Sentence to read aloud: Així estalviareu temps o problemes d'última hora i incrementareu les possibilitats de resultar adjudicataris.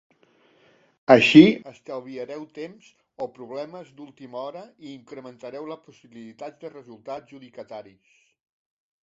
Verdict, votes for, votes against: rejected, 0, 2